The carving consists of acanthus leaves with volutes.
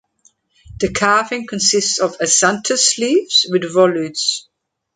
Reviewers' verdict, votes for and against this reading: accepted, 2, 0